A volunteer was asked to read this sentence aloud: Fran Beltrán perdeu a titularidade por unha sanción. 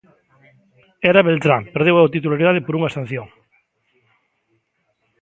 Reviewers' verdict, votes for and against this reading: rejected, 0, 2